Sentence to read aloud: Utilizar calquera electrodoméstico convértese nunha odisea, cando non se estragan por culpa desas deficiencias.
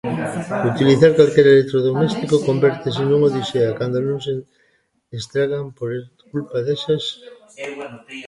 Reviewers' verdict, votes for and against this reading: rejected, 0, 2